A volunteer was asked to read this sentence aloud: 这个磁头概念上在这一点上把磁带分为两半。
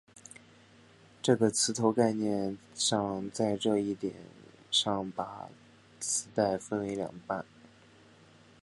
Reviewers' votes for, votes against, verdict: 2, 0, accepted